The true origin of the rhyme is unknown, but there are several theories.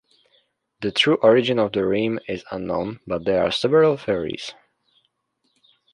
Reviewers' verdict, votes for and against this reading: rejected, 0, 2